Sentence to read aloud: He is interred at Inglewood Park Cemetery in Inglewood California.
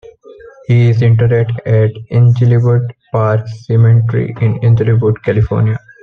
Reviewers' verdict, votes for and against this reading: rejected, 1, 2